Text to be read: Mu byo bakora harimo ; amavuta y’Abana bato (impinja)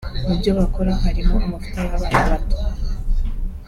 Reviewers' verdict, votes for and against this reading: rejected, 0, 3